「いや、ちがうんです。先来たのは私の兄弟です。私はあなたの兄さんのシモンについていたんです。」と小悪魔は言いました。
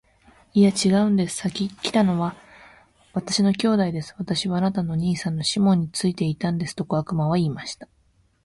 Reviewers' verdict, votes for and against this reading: accepted, 4, 1